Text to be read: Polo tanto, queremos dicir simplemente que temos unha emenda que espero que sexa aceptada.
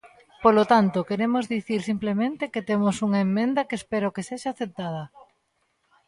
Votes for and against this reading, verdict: 0, 2, rejected